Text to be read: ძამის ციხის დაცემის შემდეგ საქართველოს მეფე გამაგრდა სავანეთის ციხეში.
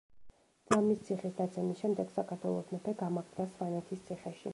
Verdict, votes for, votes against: rejected, 1, 2